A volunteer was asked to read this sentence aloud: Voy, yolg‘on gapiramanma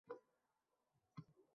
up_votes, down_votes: 0, 2